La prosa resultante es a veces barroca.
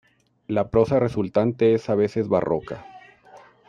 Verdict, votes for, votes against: rejected, 0, 2